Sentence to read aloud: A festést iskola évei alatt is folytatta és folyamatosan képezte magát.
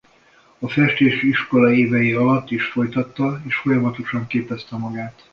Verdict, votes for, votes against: rejected, 0, 2